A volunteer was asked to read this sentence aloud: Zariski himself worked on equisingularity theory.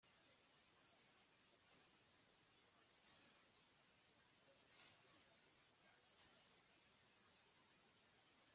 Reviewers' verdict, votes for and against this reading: rejected, 0, 2